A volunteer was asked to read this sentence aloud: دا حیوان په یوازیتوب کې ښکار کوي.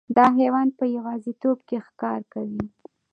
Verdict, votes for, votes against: accepted, 2, 0